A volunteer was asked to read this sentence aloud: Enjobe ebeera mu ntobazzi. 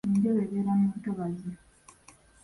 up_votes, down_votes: 2, 0